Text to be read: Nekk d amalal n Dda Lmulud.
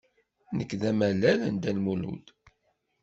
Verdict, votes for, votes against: accepted, 2, 0